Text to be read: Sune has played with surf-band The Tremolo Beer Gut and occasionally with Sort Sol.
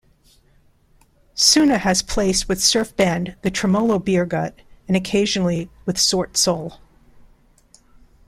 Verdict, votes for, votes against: rejected, 0, 2